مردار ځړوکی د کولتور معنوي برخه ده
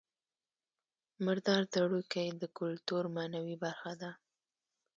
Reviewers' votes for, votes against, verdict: 2, 0, accepted